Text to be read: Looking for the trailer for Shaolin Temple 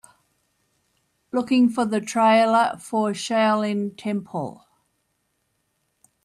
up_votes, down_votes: 2, 0